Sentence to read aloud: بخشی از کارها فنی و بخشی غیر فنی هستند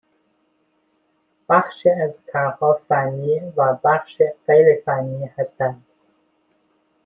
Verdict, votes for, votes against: accepted, 2, 1